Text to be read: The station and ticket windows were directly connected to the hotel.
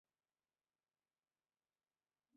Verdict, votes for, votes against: rejected, 0, 2